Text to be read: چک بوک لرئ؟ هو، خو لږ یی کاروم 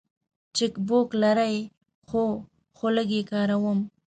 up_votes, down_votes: 2, 0